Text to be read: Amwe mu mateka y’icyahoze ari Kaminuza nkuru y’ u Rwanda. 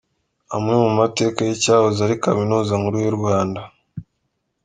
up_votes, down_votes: 2, 0